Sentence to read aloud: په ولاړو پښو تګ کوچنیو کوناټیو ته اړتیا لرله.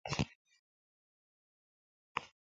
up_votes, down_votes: 2, 3